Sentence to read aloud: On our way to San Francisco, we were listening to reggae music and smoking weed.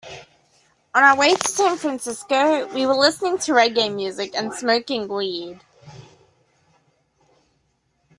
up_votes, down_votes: 2, 0